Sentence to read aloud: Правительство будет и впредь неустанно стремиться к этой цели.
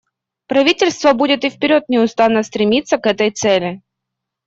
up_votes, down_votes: 1, 2